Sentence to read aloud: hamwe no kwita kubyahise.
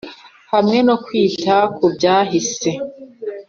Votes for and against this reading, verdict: 2, 0, accepted